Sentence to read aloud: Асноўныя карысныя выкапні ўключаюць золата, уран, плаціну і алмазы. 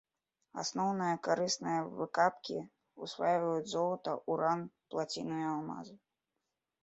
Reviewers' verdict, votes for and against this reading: rejected, 0, 2